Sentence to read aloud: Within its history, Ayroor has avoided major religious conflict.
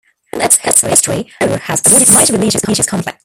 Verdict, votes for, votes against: rejected, 1, 2